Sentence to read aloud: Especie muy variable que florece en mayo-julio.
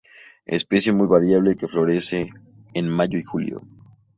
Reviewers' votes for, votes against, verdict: 0, 2, rejected